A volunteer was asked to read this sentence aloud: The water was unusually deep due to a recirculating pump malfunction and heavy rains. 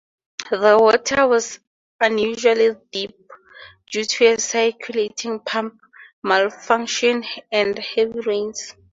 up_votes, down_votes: 0, 4